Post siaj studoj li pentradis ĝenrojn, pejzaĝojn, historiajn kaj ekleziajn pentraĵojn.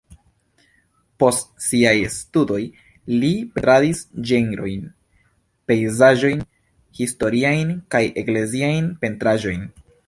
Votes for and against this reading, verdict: 2, 0, accepted